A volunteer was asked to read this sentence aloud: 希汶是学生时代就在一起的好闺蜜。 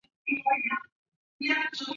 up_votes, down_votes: 2, 0